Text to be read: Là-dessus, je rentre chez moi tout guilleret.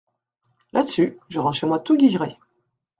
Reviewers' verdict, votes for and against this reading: accepted, 2, 0